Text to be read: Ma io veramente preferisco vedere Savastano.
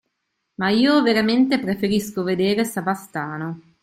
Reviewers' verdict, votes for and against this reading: accepted, 2, 0